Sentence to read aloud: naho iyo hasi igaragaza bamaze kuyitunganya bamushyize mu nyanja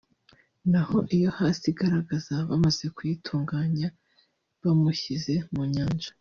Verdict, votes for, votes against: rejected, 0, 2